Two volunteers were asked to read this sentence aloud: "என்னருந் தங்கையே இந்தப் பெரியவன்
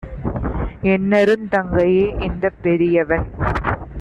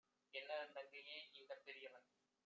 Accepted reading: first